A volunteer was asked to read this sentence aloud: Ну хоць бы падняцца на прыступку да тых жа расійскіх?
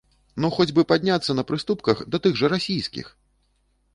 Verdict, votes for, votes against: rejected, 0, 2